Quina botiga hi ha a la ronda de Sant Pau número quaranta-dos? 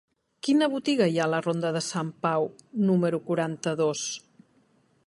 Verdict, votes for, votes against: accepted, 3, 0